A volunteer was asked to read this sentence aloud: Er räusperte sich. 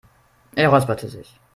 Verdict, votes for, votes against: rejected, 0, 2